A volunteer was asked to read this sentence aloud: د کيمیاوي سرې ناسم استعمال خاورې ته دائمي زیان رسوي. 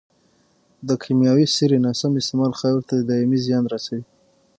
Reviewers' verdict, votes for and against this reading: rejected, 0, 6